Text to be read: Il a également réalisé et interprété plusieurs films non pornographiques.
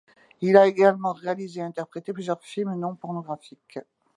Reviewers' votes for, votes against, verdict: 2, 0, accepted